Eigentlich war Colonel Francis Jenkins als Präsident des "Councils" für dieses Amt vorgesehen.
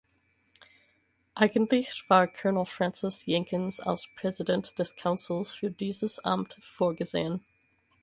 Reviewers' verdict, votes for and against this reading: accepted, 4, 2